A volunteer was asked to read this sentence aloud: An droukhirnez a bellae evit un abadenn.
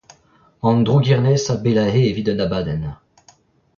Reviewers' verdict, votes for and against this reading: rejected, 0, 2